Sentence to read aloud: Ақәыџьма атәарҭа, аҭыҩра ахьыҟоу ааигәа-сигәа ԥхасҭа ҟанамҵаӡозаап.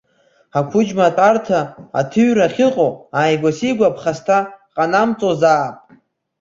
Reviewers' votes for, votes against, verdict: 2, 1, accepted